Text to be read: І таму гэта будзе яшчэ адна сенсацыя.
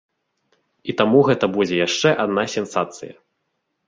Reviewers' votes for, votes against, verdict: 2, 1, accepted